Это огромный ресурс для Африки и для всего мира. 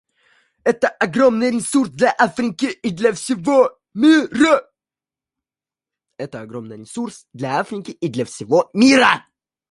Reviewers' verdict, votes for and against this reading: rejected, 1, 2